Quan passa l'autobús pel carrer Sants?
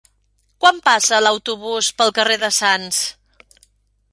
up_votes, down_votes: 0, 2